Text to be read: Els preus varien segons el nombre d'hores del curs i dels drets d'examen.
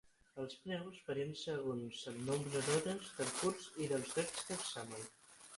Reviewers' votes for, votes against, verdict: 3, 6, rejected